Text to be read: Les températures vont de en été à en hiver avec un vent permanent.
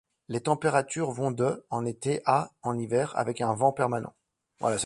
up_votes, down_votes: 1, 2